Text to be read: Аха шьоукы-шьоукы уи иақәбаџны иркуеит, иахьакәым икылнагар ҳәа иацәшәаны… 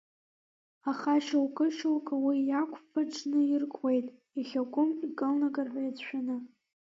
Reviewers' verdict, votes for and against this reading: rejected, 0, 2